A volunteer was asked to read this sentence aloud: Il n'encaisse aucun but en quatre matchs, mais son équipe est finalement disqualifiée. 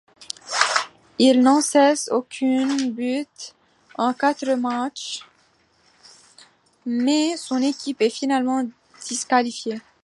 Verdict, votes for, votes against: rejected, 0, 2